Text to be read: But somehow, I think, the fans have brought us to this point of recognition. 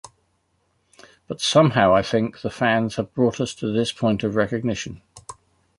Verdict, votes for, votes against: accepted, 2, 0